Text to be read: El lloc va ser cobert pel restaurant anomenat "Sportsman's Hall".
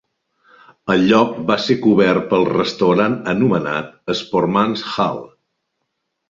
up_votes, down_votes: 2, 0